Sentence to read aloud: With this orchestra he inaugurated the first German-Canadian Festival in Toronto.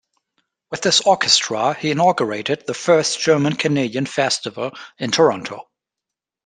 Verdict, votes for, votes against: accepted, 2, 0